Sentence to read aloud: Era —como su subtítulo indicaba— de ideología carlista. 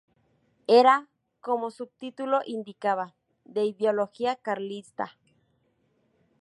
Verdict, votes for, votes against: rejected, 0, 2